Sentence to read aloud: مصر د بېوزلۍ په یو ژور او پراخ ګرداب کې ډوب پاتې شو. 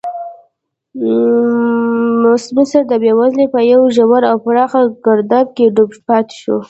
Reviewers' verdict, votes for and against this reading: rejected, 0, 2